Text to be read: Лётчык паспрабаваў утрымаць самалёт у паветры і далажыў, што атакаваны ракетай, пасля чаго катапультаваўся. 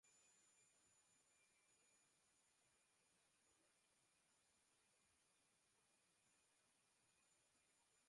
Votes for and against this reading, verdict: 0, 2, rejected